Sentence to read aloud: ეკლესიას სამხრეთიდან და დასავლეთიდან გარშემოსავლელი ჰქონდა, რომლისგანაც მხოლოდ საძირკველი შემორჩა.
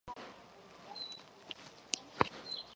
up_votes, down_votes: 0, 2